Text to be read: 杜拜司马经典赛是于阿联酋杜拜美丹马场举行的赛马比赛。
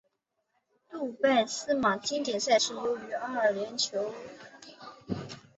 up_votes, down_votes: 0, 2